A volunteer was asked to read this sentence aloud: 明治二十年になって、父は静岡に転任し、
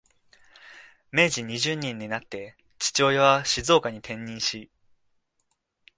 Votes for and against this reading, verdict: 0, 2, rejected